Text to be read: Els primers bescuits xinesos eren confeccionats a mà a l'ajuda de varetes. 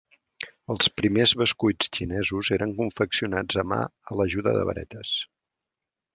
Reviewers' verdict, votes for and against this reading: accepted, 2, 0